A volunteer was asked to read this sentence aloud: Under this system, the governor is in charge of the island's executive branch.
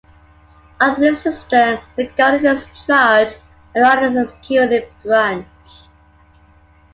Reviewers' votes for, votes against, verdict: 2, 0, accepted